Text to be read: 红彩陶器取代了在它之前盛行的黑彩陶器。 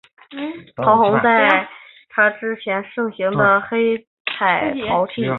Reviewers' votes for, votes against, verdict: 2, 2, rejected